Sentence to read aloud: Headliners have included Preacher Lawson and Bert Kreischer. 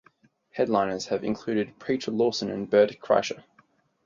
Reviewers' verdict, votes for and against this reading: accepted, 4, 0